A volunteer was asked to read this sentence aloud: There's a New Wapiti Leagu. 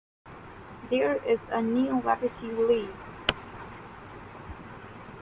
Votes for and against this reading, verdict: 2, 1, accepted